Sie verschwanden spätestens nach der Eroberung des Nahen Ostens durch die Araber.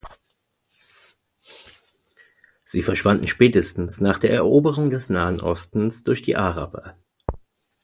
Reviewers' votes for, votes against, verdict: 2, 0, accepted